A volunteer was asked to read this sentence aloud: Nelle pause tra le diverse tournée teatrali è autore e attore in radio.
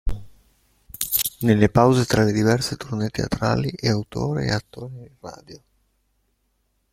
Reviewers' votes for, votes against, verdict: 1, 2, rejected